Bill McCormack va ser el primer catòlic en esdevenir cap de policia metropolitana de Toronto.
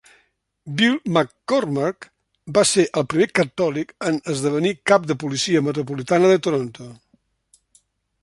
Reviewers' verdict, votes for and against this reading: accepted, 3, 0